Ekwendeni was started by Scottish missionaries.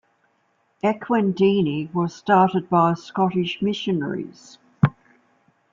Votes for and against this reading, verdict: 2, 0, accepted